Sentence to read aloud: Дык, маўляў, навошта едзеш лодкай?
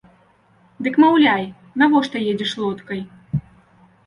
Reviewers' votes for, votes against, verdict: 1, 2, rejected